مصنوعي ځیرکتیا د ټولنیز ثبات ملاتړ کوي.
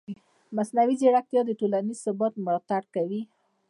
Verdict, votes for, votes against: accepted, 2, 0